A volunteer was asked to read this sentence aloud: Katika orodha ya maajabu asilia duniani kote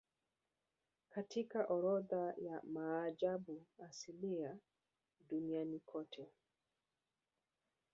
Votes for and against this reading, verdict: 2, 0, accepted